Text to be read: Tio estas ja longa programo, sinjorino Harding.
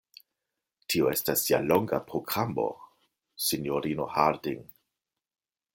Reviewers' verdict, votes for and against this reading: accepted, 2, 0